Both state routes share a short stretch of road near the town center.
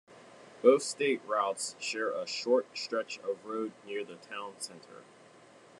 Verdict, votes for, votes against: accepted, 2, 1